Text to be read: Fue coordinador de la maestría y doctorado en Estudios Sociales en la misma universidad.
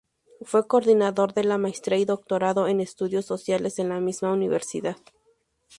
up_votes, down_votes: 2, 0